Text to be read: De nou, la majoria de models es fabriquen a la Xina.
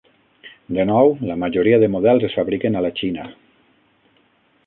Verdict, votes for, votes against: rejected, 3, 6